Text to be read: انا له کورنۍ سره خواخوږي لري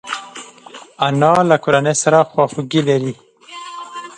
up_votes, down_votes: 1, 3